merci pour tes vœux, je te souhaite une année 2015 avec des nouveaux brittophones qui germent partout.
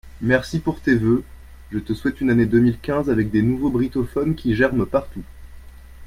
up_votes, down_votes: 0, 2